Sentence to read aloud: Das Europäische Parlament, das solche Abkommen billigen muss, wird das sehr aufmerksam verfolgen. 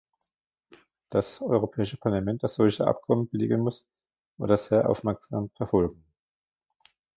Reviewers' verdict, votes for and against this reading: rejected, 0, 2